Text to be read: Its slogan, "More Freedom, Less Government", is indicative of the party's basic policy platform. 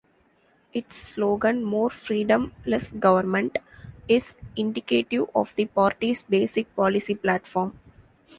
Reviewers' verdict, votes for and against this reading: accepted, 2, 0